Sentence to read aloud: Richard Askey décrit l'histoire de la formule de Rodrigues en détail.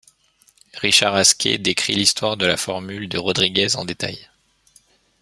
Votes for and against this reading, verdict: 2, 1, accepted